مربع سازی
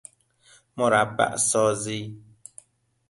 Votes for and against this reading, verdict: 2, 0, accepted